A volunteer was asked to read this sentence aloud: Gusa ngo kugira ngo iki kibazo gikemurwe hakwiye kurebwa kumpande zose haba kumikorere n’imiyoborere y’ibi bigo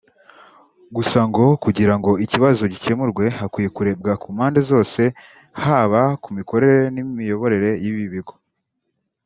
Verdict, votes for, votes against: rejected, 1, 2